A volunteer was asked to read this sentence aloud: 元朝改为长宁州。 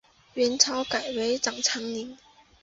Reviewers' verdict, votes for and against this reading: accepted, 3, 2